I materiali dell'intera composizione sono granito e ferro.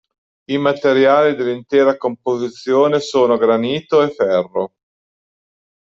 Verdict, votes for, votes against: accepted, 2, 0